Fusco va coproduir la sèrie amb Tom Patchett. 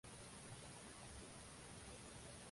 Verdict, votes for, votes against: rejected, 0, 2